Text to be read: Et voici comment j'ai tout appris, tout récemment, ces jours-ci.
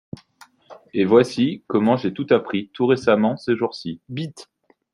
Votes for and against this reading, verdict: 0, 2, rejected